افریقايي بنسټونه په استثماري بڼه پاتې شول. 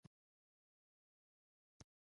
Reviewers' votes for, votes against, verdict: 0, 2, rejected